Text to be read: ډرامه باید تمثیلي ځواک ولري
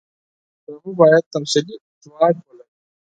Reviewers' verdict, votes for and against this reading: rejected, 2, 4